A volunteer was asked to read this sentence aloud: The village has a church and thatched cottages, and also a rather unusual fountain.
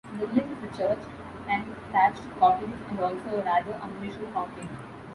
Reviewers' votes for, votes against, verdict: 0, 2, rejected